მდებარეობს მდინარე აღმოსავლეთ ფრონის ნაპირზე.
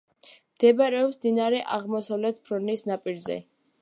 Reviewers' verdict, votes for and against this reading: accepted, 2, 0